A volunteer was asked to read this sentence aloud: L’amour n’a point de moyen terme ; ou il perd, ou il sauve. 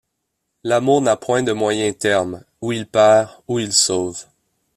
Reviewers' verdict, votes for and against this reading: rejected, 1, 2